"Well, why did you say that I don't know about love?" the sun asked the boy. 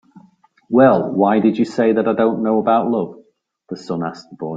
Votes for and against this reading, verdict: 3, 0, accepted